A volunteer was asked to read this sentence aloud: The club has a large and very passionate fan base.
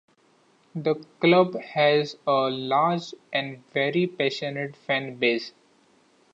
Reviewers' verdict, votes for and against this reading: accepted, 2, 0